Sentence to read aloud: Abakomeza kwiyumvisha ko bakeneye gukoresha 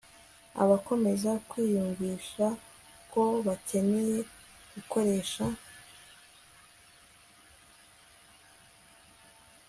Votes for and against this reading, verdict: 2, 0, accepted